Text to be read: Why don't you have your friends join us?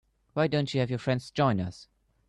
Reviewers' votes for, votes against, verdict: 2, 1, accepted